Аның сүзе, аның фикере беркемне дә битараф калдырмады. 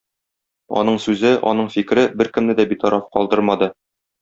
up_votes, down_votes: 2, 0